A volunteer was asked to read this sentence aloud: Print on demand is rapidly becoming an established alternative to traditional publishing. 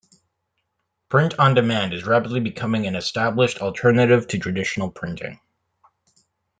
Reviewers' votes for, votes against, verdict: 0, 2, rejected